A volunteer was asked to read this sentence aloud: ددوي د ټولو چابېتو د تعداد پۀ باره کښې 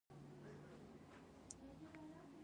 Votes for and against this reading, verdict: 1, 2, rejected